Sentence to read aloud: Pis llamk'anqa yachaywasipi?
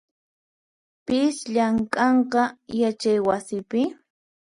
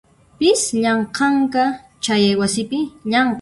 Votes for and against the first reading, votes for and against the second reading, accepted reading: 4, 0, 0, 2, first